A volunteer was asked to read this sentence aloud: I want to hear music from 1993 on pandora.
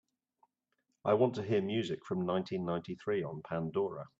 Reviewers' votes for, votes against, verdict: 0, 2, rejected